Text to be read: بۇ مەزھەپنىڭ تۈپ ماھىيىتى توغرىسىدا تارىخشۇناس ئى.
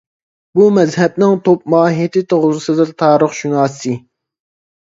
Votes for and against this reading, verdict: 0, 2, rejected